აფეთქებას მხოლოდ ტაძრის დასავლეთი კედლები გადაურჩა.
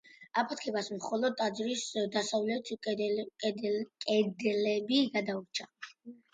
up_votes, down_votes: 0, 2